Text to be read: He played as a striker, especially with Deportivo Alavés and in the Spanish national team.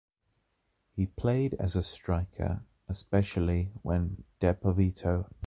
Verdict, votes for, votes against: rejected, 0, 2